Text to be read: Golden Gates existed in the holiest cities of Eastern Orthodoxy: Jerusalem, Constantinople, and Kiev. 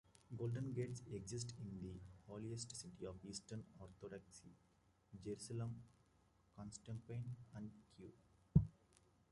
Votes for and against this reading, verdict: 0, 2, rejected